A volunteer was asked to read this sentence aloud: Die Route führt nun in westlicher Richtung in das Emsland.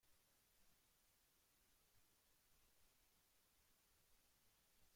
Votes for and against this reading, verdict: 0, 2, rejected